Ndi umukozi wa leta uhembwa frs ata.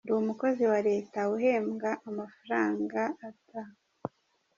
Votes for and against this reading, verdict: 0, 2, rejected